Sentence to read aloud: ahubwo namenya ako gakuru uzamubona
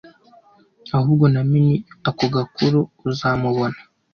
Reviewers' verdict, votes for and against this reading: rejected, 0, 2